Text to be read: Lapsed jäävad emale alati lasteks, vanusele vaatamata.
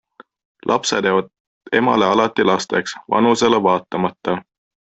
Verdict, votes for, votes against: accepted, 2, 1